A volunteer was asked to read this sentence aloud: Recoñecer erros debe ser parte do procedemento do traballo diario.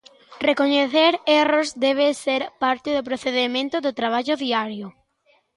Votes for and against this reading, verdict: 2, 0, accepted